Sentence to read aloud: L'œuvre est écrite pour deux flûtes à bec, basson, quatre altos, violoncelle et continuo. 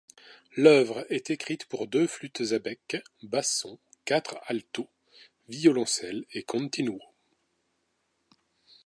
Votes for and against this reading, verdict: 0, 2, rejected